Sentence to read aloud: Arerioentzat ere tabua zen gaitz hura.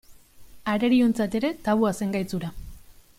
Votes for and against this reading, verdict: 2, 0, accepted